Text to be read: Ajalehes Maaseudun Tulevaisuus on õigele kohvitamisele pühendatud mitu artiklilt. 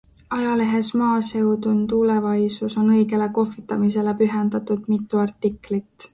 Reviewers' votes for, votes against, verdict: 2, 0, accepted